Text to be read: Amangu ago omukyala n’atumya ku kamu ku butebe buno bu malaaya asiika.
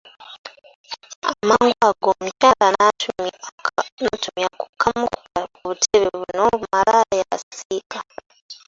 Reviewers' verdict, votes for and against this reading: rejected, 0, 2